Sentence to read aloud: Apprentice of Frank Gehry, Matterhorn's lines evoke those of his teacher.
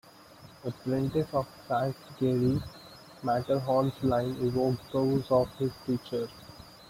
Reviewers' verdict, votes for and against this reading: rejected, 0, 2